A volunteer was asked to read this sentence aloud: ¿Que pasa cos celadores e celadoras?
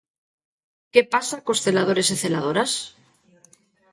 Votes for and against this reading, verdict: 1, 2, rejected